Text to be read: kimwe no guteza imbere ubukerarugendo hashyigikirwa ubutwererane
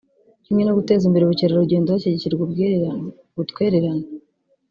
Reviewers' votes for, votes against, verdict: 1, 2, rejected